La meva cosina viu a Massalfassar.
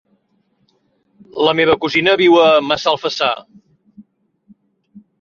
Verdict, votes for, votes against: accepted, 3, 0